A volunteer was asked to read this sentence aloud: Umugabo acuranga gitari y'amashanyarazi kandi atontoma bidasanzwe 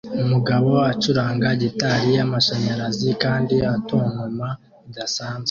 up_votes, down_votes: 2, 0